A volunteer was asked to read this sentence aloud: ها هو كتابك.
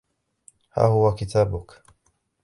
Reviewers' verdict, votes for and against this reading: rejected, 1, 2